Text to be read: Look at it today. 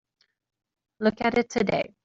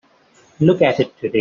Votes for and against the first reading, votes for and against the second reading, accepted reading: 2, 0, 1, 2, first